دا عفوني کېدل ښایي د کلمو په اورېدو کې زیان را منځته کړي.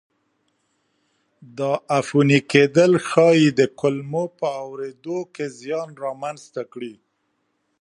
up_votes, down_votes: 0, 2